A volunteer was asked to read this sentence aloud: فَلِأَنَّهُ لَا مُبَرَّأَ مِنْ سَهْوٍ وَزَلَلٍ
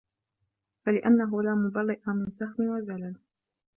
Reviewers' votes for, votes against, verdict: 0, 2, rejected